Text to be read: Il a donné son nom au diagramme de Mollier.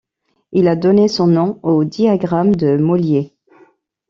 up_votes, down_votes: 2, 0